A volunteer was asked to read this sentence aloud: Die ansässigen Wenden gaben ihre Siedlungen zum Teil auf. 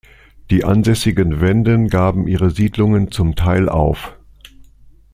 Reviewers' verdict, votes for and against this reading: accepted, 2, 0